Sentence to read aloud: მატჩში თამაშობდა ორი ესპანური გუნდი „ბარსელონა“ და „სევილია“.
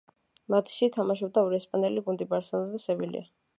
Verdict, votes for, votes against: accepted, 2, 0